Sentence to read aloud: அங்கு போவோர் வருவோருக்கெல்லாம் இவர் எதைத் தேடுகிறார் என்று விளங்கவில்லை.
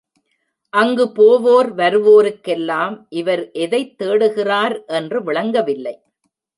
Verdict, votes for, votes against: accepted, 2, 0